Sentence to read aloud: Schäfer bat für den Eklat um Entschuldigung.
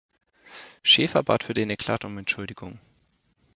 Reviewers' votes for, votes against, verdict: 2, 0, accepted